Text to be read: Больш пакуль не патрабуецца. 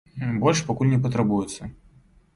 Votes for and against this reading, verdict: 0, 2, rejected